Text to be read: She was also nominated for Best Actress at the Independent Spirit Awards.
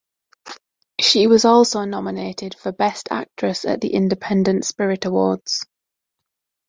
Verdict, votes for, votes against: accepted, 2, 1